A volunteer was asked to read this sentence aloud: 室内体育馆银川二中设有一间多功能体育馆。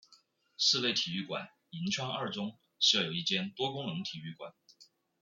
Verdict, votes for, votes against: accepted, 2, 1